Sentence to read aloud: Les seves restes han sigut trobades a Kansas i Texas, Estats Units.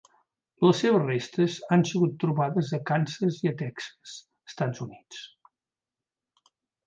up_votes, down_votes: 0, 2